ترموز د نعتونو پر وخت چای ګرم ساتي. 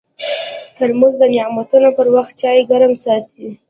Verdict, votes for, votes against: accepted, 2, 0